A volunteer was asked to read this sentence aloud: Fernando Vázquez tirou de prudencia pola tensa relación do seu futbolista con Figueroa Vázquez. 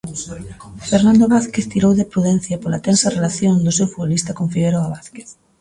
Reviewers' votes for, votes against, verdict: 0, 2, rejected